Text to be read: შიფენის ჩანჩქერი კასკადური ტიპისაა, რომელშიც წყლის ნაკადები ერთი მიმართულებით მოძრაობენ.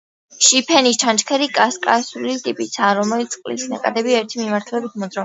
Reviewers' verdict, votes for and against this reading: rejected, 0, 2